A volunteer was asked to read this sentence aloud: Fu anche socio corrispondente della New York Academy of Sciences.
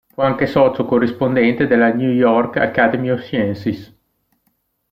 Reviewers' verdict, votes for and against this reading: rejected, 1, 2